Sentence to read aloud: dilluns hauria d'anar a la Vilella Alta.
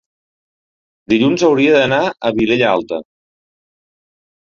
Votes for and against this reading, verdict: 0, 2, rejected